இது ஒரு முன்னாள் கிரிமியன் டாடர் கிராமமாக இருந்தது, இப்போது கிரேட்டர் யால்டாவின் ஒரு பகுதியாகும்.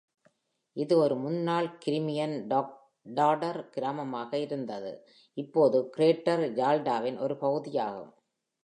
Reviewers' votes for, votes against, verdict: 1, 2, rejected